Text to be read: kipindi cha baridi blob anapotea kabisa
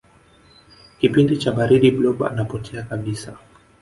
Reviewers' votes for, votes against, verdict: 2, 0, accepted